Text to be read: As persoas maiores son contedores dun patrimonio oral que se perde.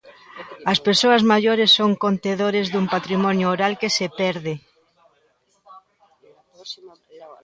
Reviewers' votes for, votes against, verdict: 2, 0, accepted